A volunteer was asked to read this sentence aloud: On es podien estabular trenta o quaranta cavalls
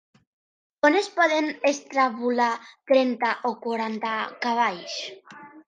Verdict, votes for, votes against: rejected, 1, 2